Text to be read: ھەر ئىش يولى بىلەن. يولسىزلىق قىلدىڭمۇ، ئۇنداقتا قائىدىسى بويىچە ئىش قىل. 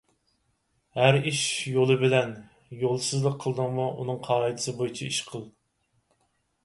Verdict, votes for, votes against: rejected, 0, 4